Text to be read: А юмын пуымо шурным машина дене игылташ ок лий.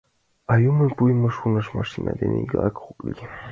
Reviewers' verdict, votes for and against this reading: rejected, 1, 2